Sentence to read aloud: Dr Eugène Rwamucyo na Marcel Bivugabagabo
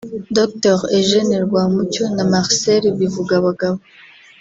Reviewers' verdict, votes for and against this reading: rejected, 0, 2